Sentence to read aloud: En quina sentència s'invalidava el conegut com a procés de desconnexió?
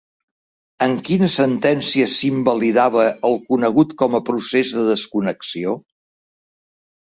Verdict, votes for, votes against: accepted, 2, 0